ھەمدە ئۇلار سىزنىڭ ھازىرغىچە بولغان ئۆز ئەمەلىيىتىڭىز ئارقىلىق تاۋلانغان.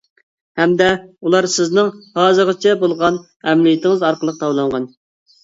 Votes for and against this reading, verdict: 0, 2, rejected